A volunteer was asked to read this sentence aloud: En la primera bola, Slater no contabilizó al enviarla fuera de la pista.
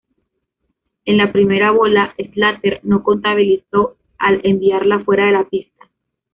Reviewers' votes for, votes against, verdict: 0, 2, rejected